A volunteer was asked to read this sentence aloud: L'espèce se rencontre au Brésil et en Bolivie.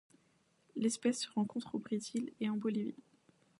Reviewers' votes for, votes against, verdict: 0, 2, rejected